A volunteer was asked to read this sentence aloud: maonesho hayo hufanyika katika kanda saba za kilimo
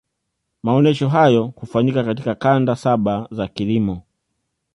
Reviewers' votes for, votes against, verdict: 2, 0, accepted